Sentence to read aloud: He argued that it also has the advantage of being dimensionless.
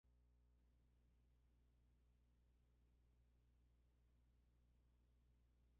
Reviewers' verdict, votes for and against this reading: rejected, 1, 2